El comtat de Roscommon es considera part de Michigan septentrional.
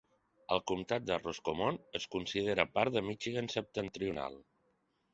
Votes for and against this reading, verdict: 2, 0, accepted